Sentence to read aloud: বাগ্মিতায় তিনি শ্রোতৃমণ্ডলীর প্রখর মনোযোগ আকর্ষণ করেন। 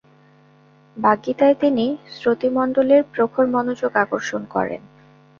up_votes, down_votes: 2, 0